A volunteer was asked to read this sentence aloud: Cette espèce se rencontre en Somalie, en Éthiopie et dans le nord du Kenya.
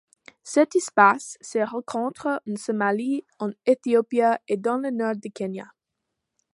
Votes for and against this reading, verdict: 2, 0, accepted